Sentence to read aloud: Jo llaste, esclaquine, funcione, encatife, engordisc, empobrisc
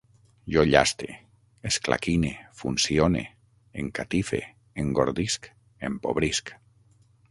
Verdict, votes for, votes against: accepted, 6, 0